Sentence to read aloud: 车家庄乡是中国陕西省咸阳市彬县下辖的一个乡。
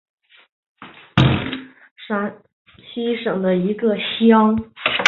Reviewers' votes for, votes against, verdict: 2, 3, rejected